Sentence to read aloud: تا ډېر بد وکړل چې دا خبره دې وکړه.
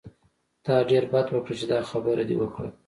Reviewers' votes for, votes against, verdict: 2, 1, accepted